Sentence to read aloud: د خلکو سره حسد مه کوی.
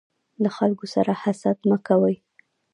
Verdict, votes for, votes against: rejected, 1, 2